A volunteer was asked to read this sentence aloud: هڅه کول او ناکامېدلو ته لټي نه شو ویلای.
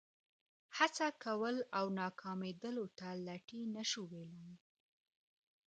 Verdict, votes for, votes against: accepted, 2, 0